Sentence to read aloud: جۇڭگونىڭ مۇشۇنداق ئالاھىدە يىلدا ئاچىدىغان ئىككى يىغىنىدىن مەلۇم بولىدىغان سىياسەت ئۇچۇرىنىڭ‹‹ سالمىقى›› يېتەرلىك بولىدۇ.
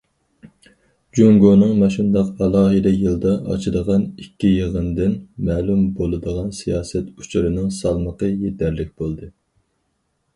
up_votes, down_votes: 2, 2